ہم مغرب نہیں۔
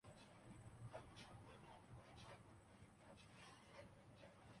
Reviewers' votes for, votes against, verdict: 0, 2, rejected